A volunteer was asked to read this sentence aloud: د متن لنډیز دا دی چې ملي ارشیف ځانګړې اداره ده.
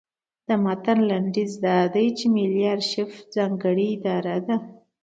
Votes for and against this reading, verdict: 2, 0, accepted